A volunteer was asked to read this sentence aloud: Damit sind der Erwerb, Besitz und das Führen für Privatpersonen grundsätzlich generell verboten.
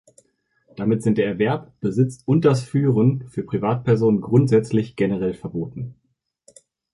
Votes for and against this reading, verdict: 2, 0, accepted